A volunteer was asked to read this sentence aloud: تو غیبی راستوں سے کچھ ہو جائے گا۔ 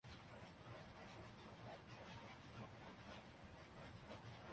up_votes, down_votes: 1, 3